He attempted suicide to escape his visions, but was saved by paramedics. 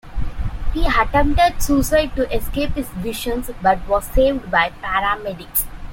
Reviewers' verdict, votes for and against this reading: accepted, 2, 1